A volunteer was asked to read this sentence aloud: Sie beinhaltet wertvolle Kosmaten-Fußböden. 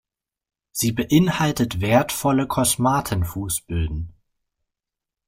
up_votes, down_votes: 2, 0